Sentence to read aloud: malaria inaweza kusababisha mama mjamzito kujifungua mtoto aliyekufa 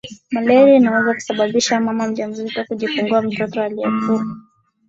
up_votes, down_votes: 2, 1